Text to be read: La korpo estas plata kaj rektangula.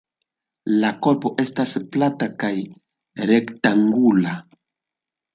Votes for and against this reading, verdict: 2, 0, accepted